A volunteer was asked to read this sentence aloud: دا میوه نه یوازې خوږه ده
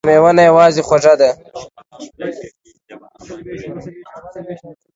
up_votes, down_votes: 1, 2